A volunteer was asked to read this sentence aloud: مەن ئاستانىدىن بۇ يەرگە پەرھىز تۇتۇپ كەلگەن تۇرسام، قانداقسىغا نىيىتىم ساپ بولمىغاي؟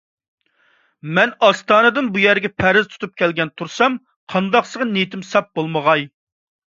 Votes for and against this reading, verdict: 2, 0, accepted